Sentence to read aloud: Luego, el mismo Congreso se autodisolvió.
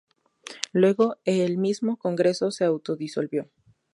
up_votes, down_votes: 2, 0